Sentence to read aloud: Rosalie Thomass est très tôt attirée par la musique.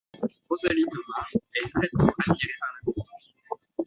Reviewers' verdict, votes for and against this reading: rejected, 1, 2